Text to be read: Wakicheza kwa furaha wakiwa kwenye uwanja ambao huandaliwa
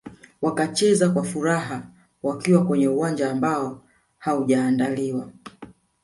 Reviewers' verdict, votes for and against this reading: rejected, 0, 2